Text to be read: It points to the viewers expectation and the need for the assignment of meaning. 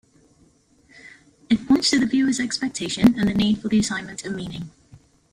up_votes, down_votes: 2, 1